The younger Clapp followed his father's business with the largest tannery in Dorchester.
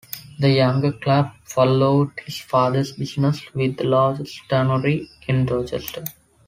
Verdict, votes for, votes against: accepted, 2, 0